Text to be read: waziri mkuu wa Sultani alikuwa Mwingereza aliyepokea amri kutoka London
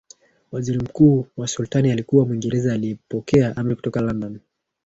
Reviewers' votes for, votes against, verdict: 0, 2, rejected